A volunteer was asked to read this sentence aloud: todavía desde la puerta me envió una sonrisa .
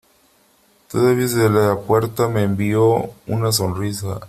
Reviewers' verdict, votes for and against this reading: accepted, 2, 1